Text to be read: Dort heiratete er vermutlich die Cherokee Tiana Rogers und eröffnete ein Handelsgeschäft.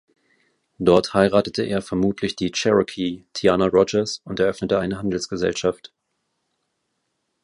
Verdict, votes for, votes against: rejected, 2, 2